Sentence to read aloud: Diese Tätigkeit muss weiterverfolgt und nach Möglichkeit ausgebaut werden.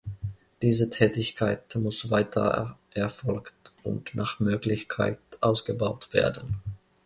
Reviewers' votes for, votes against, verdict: 0, 2, rejected